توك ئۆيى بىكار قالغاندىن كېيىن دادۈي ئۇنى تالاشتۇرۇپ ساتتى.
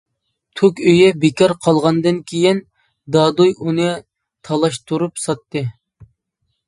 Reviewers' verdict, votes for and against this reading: accepted, 2, 1